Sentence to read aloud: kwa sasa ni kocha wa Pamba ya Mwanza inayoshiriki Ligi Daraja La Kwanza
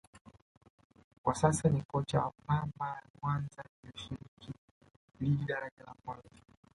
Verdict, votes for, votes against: rejected, 0, 2